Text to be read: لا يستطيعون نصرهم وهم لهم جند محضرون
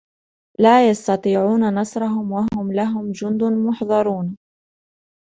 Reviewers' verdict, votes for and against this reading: accepted, 2, 0